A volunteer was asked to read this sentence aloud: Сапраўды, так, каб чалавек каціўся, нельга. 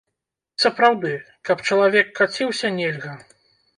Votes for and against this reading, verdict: 0, 2, rejected